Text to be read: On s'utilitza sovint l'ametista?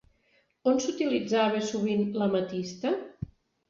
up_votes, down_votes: 0, 2